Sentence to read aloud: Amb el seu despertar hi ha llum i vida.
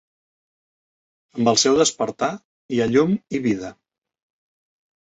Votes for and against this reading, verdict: 3, 0, accepted